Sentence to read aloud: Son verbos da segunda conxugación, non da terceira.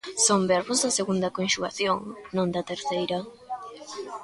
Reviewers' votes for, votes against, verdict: 1, 2, rejected